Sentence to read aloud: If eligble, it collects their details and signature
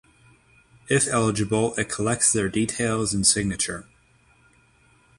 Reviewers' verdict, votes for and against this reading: accepted, 3, 0